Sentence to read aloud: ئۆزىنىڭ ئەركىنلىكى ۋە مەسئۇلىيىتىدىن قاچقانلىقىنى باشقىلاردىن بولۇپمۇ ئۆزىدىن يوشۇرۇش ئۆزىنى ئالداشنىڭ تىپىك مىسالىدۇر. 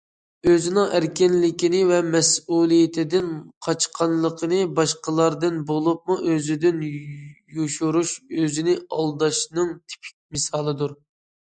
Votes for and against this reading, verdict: 1, 2, rejected